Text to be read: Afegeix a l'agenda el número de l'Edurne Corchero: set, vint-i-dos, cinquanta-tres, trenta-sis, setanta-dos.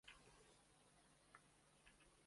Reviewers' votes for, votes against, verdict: 0, 2, rejected